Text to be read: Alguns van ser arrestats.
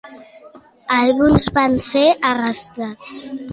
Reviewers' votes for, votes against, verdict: 2, 0, accepted